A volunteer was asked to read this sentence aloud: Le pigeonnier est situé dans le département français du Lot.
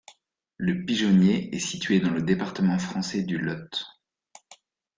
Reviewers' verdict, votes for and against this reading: accepted, 2, 1